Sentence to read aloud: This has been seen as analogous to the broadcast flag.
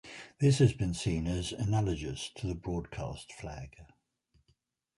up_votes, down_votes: 2, 0